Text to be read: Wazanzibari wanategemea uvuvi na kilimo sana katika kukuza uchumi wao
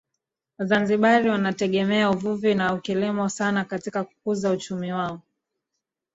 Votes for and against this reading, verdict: 1, 2, rejected